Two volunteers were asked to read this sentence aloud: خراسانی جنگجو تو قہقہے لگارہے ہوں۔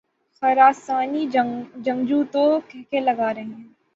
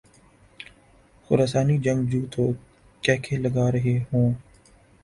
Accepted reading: second